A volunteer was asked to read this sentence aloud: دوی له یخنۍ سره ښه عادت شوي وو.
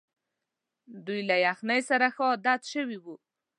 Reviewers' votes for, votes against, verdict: 2, 0, accepted